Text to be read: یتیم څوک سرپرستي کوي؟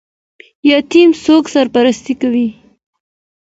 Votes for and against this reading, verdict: 2, 1, accepted